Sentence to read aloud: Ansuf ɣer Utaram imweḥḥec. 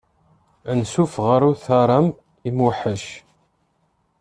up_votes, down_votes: 1, 2